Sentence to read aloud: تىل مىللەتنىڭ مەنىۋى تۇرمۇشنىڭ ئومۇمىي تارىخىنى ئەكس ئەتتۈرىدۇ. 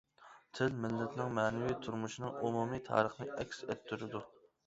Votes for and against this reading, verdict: 2, 0, accepted